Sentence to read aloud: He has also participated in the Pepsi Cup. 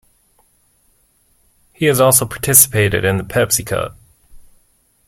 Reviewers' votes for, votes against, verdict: 1, 2, rejected